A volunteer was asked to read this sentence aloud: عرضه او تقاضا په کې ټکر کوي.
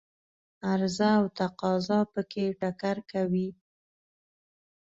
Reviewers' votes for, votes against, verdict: 2, 0, accepted